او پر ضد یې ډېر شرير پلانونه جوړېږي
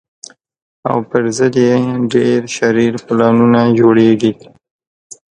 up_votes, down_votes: 2, 0